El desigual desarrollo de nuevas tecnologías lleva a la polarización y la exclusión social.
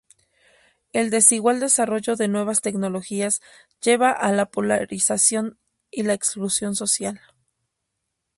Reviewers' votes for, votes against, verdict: 4, 0, accepted